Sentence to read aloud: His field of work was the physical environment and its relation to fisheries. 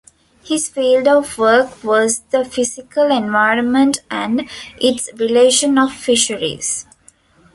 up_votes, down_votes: 0, 2